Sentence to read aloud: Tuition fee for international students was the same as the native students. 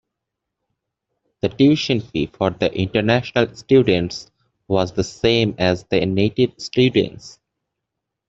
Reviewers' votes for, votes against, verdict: 0, 2, rejected